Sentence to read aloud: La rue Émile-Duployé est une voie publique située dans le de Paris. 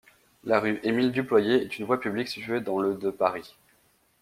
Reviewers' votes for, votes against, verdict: 2, 0, accepted